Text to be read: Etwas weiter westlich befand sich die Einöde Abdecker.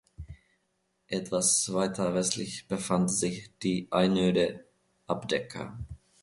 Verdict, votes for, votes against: accepted, 2, 0